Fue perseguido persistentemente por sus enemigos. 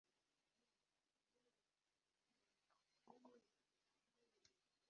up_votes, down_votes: 0, 2